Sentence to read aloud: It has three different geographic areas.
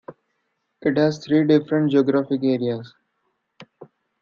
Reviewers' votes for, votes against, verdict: 2, 0, accepted